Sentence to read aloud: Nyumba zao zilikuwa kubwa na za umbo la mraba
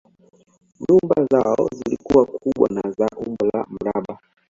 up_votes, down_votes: 2, 1